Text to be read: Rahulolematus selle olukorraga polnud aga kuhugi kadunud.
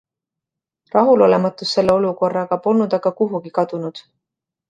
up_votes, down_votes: 2, 0